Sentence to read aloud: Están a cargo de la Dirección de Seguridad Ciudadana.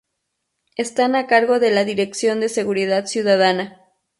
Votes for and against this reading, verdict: 2, 0, accepted